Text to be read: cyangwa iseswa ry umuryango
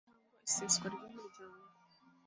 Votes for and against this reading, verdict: 1, 2, rejected